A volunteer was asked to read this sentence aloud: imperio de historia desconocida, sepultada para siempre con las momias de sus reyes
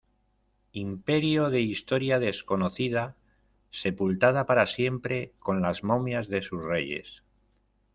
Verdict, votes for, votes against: rejected, 1, 2